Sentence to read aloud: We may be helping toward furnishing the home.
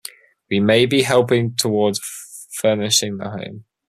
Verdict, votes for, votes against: accepted, 2, 0